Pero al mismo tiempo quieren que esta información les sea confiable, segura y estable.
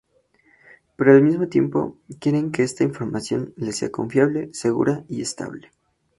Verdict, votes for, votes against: accepted, 2, 0